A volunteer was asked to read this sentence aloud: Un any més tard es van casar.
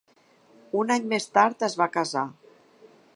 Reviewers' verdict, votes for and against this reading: rejected, 2, 3